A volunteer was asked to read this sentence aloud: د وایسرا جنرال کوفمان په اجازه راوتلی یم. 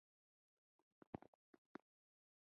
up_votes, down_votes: 0, 2